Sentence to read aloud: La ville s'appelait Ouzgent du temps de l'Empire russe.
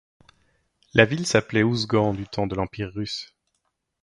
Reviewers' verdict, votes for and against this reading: accepted, 2, 0